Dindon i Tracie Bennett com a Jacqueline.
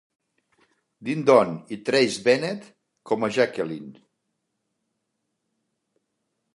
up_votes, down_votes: 2, 0